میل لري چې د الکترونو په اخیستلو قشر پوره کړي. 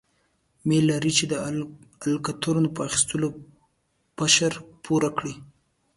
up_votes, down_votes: 0, 2